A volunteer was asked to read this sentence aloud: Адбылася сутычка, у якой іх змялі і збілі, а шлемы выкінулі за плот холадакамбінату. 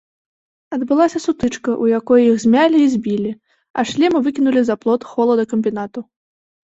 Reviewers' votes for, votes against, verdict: 2, 0, accepted